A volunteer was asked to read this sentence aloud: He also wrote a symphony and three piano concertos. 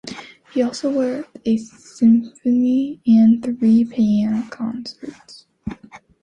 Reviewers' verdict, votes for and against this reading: rejected, 0, 2